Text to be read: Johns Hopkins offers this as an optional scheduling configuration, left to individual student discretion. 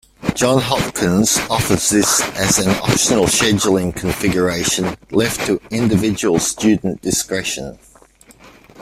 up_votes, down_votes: 0, 2